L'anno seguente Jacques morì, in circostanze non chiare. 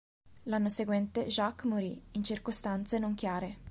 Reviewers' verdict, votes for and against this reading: accepted, 2, 0